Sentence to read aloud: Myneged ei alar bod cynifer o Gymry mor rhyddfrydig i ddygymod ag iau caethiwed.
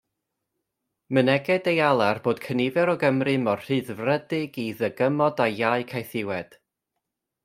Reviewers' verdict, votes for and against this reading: rejected, 0, 2